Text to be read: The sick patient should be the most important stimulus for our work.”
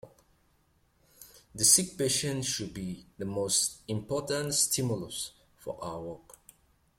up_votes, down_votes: 2, 0